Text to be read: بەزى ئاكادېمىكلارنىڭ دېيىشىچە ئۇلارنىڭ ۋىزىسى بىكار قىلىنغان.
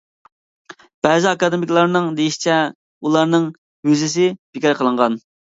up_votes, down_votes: 2, 0